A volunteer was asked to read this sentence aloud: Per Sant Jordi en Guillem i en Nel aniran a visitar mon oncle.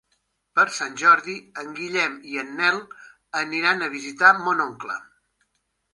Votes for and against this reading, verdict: 3, 0, accepted